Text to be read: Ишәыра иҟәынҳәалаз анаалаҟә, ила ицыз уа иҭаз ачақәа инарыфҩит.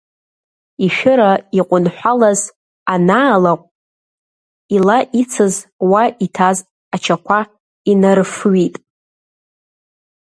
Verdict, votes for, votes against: accepted, 2, 1